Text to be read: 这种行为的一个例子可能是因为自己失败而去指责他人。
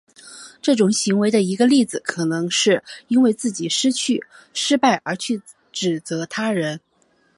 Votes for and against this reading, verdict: 0, 2, rejected